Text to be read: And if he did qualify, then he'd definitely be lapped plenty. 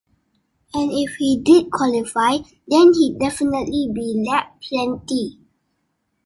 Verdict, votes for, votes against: accepted, 2, 0